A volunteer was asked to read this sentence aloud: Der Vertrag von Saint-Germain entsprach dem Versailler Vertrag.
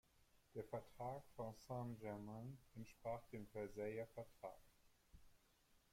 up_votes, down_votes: 2, 0